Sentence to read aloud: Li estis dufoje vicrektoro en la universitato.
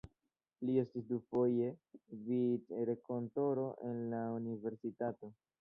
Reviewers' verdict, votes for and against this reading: accepted, 2, 0